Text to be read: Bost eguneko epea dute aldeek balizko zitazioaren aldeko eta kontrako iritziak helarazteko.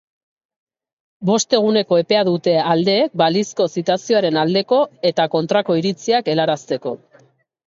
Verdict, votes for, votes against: accepted, 3, 0